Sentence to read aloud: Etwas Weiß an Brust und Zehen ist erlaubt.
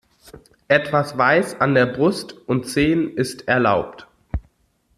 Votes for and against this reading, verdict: 0, 2, rejected